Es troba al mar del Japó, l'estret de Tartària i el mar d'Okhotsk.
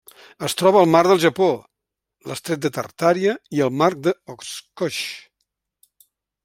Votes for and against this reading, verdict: 1, 2, rejected